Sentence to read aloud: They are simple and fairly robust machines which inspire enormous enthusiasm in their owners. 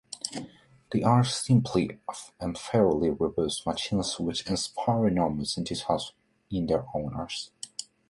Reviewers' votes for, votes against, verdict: 0, 2, rejected